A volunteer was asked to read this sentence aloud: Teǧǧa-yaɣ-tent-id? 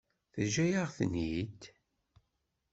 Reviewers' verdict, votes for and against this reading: rejected, 0, 2